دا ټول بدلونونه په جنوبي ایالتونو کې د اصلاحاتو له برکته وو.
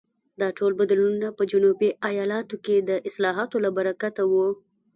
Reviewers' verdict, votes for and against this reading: accepted, 2, 0